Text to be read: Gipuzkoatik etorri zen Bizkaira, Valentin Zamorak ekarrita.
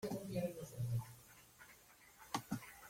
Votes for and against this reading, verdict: 0, 2, rejected